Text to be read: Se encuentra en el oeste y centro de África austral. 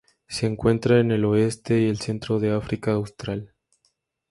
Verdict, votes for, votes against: accepted, 2, 0